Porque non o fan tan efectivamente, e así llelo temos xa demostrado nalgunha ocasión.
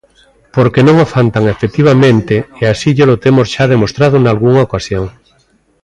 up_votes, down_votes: 2, 0